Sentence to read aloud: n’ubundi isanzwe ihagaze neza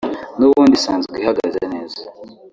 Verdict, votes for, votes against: rejected, 0, 2